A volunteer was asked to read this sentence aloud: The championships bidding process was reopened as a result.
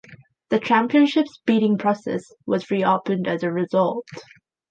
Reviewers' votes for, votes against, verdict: 4, 1, accepted